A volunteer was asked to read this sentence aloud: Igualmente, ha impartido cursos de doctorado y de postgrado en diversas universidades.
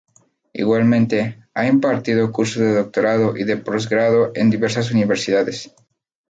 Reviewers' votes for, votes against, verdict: 2, 0, accepted